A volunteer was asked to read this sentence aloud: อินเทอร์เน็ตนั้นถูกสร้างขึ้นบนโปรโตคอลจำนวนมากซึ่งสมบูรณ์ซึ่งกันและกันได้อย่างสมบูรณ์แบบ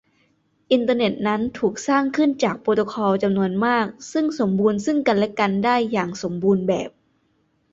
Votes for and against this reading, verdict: 0, 2, rejected